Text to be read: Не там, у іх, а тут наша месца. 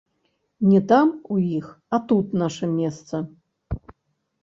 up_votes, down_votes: 1, 2